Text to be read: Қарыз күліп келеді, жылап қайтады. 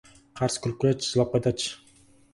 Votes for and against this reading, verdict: 0, 4, rejected